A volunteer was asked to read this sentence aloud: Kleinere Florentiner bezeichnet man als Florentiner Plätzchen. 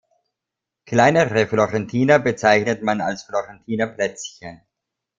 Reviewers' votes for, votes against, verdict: 2, 0, accepted